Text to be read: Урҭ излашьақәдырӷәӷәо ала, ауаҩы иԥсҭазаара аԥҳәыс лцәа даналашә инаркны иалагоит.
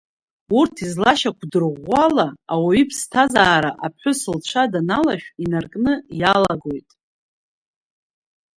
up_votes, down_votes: 2, 0